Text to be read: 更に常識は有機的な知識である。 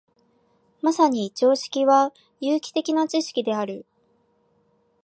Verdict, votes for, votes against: rejected, 1, 2